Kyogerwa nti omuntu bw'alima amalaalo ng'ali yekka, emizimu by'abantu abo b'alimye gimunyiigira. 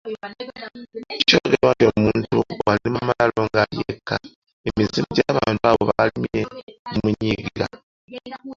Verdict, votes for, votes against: rejected, 1, 2